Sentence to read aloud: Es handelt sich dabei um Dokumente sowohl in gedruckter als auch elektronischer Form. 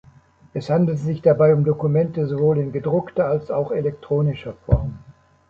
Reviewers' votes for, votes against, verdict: 2, 0, accepted